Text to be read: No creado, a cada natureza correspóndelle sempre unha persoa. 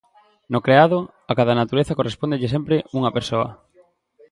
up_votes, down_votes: 2, 0